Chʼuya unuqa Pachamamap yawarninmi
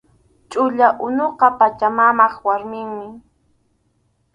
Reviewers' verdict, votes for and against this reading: rejected, 2, 2